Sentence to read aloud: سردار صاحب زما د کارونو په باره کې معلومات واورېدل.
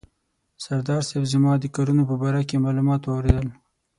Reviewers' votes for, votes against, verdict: 18, 0, accepted